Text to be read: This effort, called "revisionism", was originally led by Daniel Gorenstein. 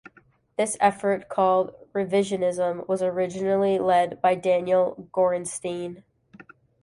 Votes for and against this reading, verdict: 2, 0, accepted